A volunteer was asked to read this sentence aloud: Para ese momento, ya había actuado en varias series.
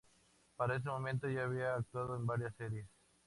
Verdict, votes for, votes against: rejected, 2, 2